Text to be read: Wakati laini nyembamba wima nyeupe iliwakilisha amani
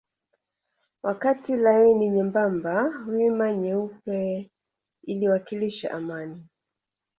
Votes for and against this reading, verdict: 2, 0, accepted